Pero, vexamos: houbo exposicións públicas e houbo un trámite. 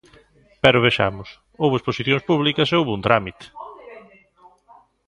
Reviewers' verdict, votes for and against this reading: rejected, 1, 2